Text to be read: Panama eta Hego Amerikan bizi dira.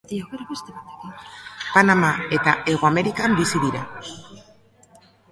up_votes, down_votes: 1, 2